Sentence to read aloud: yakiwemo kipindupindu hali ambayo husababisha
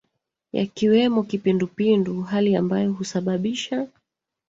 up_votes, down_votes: 2, 1